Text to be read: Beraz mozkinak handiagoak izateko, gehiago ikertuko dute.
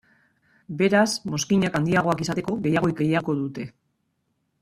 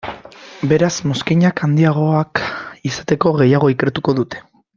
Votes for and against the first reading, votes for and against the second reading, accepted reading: 0, 2, 2, 0, second